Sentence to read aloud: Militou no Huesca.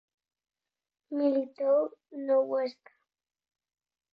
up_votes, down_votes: 4, 0